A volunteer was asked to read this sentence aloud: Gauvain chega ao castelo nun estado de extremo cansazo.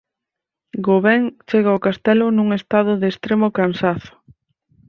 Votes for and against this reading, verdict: 4, 0, accepted